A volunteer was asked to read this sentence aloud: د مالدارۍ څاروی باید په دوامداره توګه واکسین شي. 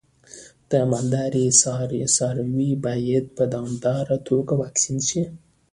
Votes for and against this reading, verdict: 2, 0, accepted